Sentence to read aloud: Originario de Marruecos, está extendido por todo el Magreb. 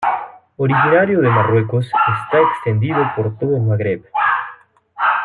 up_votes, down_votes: 1, 2